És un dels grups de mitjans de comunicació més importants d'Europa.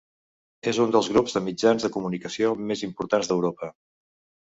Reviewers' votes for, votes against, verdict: 2, 0, accepted